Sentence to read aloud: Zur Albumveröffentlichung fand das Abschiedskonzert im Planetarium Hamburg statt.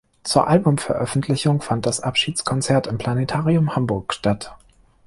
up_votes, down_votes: 2, 0